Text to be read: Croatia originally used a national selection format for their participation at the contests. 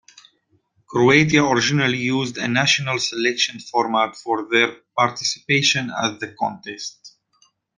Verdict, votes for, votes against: rejected, 1, 2